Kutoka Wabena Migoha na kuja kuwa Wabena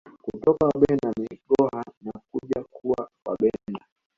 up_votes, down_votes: 2, 0